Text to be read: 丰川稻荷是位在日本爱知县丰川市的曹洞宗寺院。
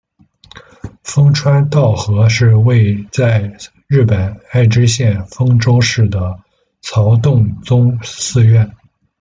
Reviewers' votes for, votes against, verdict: 0, 2, rejected